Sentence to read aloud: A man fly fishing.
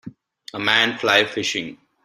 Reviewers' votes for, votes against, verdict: 2, 0, accepted